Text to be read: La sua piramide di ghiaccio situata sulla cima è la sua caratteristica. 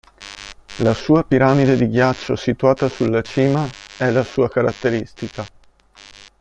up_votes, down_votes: 2, 0